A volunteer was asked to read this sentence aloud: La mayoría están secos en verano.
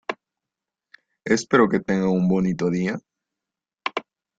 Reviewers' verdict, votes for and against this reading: rejected, 0, 2